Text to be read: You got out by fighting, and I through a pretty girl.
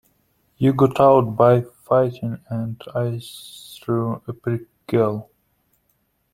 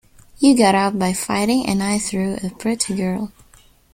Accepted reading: second